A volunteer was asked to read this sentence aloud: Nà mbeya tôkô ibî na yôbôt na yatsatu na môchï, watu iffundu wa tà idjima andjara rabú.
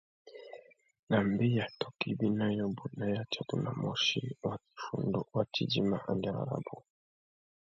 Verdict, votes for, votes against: rejected, 0, 2